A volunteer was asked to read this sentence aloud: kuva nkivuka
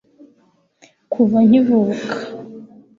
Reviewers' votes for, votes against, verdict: 3, 0, accepted